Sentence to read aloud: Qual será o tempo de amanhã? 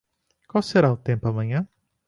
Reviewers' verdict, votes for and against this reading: rejected, 0, 2